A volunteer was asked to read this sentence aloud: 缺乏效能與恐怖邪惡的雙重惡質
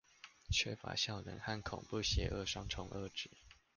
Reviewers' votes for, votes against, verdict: 1, 2, rejected